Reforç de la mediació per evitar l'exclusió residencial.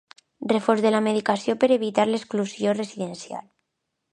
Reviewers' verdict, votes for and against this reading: rejected, 0, 2